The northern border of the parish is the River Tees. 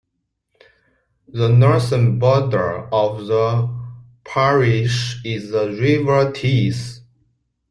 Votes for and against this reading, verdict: 2, 0, accepted